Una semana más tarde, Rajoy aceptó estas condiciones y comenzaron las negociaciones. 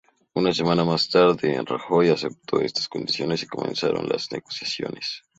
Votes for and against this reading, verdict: 2, 0, accepted